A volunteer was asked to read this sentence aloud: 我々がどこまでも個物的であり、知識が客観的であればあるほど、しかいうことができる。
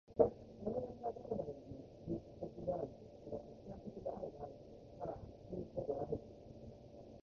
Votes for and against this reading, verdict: 0, 2, rejected